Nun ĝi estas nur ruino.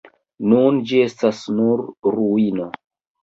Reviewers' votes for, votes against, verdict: 2, 0, accepted